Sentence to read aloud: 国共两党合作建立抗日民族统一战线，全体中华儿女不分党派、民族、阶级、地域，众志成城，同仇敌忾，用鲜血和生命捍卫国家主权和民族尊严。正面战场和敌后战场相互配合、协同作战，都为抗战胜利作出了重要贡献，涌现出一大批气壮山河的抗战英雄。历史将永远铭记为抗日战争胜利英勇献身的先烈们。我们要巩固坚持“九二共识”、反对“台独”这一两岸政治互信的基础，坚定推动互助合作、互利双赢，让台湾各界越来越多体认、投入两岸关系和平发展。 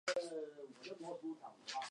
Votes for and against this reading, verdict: 0, 3, rejected